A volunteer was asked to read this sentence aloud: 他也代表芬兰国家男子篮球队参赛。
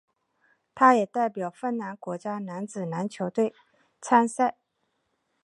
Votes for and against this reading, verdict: 4, 0, accepted